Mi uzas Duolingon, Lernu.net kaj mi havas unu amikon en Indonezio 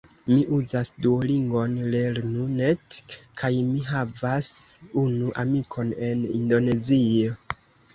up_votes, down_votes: 1, 2